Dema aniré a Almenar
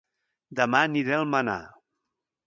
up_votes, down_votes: 1, 2